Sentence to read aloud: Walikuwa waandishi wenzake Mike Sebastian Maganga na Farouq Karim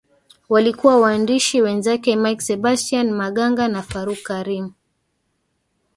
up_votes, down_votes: 2, 1